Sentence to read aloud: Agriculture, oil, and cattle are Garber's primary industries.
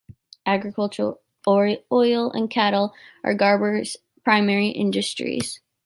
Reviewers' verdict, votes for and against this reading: rejected, 0, 2